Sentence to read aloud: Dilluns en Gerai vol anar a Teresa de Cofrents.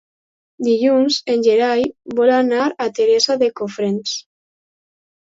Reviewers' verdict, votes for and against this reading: accepted, 2, 0